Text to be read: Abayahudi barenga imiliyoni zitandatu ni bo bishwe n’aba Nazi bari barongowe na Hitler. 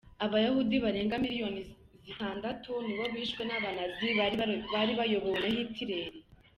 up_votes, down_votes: 1, 2